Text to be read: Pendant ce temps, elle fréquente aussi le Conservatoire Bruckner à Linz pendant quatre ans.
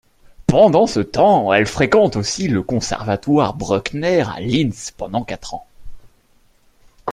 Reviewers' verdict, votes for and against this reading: accepted, 2, 0